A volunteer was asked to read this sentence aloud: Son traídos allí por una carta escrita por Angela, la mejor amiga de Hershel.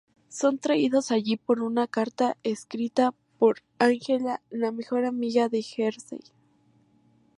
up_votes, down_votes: 2, 0